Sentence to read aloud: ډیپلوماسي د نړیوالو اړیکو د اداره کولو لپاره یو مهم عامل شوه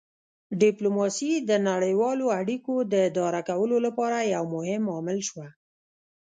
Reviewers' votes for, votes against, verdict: 1, 2, rejected